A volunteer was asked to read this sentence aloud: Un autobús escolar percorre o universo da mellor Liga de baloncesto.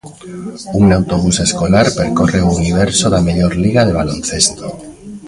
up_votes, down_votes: 0, 2